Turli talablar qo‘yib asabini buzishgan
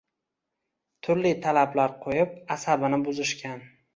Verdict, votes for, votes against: accepted, 2, 1